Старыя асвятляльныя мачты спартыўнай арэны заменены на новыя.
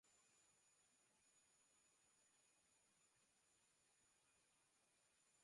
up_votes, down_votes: 0, 2